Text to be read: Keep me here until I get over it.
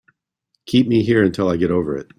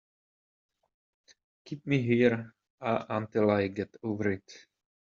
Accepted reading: first